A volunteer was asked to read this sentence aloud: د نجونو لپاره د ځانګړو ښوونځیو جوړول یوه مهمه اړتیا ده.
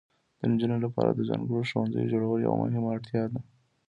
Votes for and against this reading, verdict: 2, 0, accepted